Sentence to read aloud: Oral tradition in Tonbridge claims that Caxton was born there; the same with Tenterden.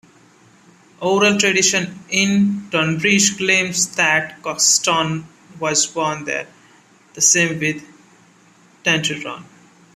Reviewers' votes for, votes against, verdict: 0, 2, rejected